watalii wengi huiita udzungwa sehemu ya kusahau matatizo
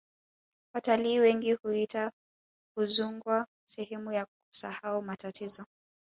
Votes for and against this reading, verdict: 2, 0, accepted